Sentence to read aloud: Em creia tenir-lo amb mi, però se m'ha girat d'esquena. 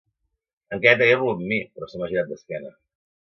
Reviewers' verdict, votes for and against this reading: rejected, 1, 2